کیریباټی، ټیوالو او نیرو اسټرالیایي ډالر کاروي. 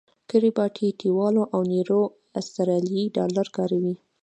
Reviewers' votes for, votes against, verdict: 2, 0, accepted